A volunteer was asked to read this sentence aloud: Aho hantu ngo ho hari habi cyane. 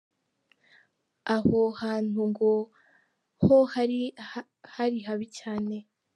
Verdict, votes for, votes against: rejected, 0, 2